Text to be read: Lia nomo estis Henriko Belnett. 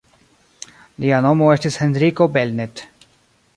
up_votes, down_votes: 0, 2